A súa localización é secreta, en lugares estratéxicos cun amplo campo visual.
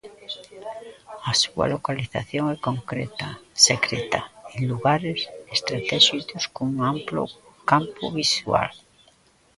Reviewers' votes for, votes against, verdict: 0, 2, rejected